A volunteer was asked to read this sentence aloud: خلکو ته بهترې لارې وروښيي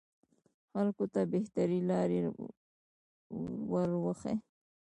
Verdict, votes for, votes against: rejected, 1, 2